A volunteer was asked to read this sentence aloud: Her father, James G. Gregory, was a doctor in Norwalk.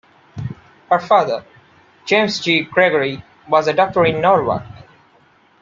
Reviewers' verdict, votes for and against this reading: rejected, 0, 2